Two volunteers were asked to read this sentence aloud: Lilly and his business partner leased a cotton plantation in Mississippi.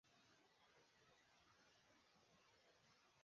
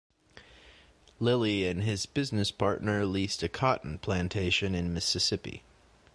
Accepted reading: second